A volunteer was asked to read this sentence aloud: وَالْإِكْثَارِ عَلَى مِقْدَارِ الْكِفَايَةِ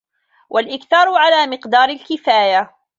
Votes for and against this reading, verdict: 2, 0, accepted